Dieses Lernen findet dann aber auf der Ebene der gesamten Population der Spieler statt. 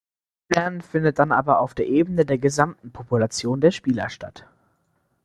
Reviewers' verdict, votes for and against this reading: rejected, 0, 2